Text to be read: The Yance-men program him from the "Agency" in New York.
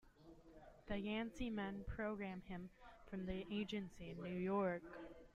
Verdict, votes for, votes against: rejected, 1, 2